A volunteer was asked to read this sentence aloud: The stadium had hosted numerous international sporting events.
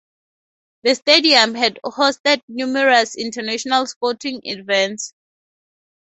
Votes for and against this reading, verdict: 0, 2, rejected